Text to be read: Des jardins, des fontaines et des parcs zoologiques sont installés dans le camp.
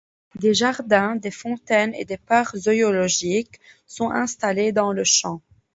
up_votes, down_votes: 0, 2